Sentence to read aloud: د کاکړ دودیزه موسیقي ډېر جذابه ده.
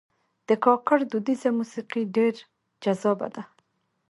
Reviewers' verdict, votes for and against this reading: rejected, 0, 2